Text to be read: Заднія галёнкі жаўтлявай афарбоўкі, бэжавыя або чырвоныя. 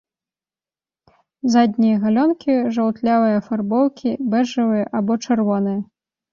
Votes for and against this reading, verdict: 2, 0, accepted